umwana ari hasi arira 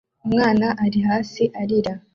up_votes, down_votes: 2, 0